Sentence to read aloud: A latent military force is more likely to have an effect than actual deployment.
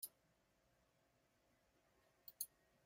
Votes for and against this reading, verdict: 1, 2, rejected